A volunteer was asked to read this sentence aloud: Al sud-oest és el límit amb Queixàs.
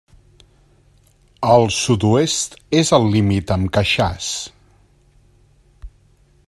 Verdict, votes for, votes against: accepted, 2, 0